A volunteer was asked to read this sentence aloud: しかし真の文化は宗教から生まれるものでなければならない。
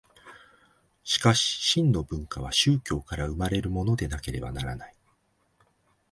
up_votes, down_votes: 2, 0